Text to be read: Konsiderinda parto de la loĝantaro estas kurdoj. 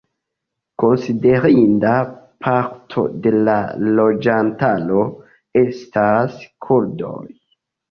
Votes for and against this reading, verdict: 2, 0, accepted